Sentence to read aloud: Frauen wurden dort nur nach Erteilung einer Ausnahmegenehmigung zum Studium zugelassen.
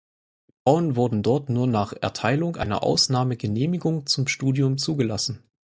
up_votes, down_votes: 4, 2